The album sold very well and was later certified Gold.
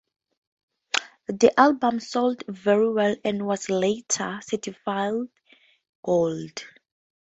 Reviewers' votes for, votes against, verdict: 0, 2, rejected